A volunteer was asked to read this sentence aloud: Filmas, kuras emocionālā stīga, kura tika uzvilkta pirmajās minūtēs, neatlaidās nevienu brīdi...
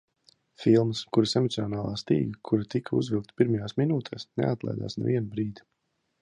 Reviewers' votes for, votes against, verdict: 2, 1, accepted